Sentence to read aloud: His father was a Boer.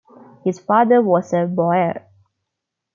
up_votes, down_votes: 2, 1